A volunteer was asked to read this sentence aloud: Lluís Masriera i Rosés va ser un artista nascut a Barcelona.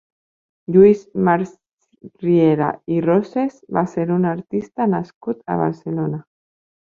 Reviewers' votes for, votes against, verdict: 0, 2, rejected